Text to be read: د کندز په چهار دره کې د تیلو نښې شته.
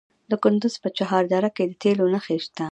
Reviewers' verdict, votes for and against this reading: accepted, 2, 0